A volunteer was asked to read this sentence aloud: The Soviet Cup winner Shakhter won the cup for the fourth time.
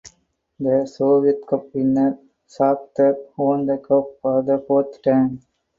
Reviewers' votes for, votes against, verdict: 4, 0, accepted